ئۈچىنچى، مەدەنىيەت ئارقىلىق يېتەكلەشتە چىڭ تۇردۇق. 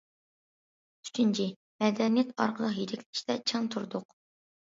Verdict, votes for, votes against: rejected, 1, 2